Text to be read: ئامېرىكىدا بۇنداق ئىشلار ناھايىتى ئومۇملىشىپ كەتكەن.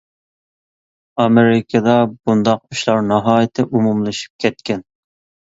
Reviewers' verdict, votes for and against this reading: accepted, 2, 0